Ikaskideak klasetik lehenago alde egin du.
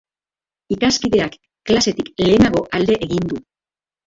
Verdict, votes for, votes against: rejected, 2, 2